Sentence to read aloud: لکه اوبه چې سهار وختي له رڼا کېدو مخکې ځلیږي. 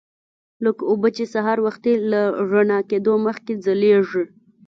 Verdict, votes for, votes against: accepted, 2, 0